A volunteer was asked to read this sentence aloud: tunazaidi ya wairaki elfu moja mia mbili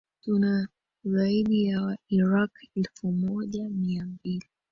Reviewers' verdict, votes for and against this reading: rejected, 0, 2